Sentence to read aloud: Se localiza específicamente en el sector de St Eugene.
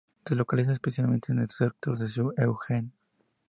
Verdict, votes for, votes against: rejected, 2, 2